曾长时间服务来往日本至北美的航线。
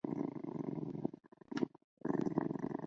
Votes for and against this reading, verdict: 1, 2, rejected